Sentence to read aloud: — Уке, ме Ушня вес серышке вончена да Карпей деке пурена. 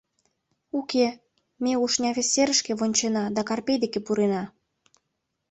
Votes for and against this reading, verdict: 2, 0, accepted